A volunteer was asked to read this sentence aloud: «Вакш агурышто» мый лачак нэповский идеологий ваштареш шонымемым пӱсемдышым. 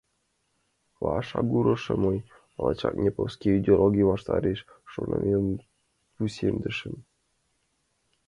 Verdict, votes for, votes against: rejected, 1, 2